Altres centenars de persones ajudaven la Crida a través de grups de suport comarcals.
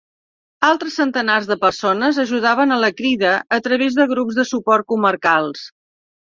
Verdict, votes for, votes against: rejected, 0, 2